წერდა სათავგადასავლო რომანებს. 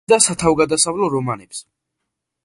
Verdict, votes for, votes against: rejected, 0, 2